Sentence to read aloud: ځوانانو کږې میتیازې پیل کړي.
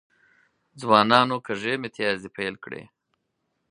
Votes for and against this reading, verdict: 6, 0, accepted